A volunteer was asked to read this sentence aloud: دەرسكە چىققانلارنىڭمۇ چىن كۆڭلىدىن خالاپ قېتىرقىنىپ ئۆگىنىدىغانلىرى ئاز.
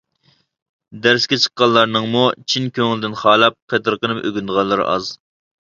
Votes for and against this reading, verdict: 2, 0, accepted